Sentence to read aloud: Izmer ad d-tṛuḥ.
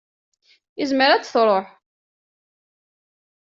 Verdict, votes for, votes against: accepted, 2, 0